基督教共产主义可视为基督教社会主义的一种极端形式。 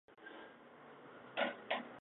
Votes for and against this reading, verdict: 0, 2, rejected